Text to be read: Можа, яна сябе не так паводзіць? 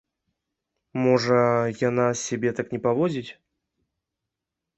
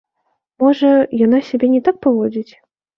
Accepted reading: second